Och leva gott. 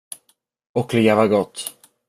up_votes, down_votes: 2, 0